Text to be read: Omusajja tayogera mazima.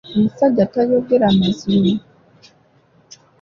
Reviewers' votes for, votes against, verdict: 2, 0, accepted